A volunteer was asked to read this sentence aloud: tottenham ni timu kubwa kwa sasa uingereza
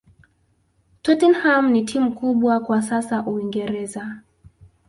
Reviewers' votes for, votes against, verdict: 0, 2, rejected